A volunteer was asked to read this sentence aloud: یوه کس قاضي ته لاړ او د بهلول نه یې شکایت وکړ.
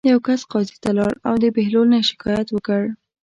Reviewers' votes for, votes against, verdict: 2, 0, accepted